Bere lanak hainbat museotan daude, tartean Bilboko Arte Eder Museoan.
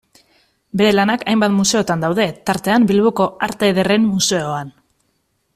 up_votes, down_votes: 1, 2